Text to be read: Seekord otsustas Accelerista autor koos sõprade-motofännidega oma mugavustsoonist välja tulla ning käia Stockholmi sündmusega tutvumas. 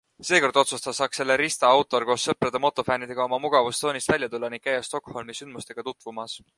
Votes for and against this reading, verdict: 2, 0, accepted